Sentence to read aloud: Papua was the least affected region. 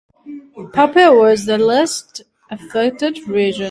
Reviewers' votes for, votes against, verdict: 0, 2, rejected